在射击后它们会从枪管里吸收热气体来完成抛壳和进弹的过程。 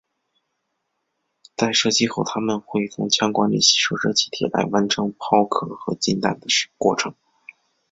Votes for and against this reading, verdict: 2, 0, accepted